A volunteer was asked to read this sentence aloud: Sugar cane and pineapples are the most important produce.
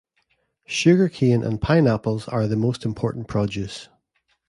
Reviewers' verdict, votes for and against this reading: accepted, 2, 0